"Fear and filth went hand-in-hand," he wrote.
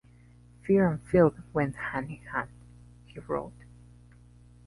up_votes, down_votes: 2, 1